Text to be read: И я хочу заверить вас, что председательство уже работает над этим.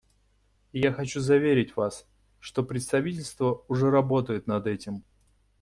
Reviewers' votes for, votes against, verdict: 1, 2, rejected